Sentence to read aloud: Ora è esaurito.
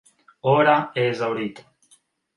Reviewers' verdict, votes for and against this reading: accepted, 3, 0